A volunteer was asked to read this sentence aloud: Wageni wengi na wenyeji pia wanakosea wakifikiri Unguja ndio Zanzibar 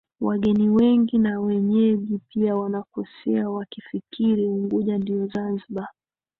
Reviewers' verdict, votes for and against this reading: accepted, 3, 2